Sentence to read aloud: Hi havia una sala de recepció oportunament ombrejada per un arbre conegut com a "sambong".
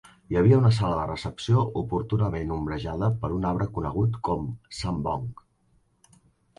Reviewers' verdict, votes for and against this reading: rejected, 0, 2